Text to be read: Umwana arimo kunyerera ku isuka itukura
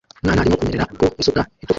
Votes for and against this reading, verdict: 0, 2, rejected